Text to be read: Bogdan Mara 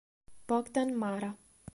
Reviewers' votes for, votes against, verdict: 3, 0, accepted